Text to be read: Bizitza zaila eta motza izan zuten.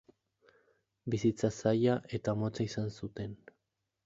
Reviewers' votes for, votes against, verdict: 2, 2, rejected